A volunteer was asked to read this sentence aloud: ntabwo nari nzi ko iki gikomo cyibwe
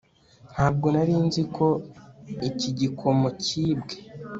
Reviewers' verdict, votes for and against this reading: accepted, 2, 0